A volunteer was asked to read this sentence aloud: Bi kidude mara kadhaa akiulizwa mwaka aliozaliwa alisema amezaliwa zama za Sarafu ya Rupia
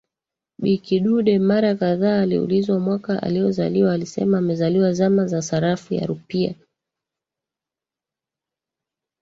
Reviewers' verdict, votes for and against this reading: rejected, 1, 2